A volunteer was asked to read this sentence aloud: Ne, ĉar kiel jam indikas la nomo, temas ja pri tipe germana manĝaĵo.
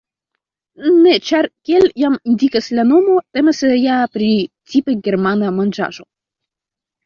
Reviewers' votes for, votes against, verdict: 2, 0, accepted